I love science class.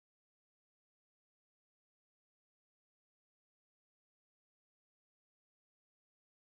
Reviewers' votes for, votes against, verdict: 0, 2, rejected